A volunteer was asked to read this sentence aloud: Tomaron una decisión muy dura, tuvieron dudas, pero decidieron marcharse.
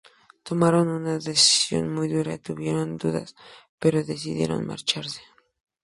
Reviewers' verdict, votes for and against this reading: accepted, 2, 0